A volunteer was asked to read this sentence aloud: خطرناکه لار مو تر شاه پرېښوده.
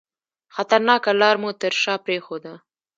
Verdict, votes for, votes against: rejected, 1, 2